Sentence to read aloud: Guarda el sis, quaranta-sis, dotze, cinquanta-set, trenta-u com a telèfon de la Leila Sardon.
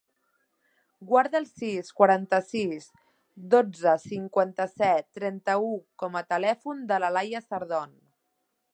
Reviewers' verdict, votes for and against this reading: rejected, 0, 2